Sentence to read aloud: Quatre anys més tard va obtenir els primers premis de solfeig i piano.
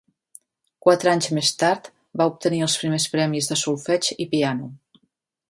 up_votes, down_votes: 2, 0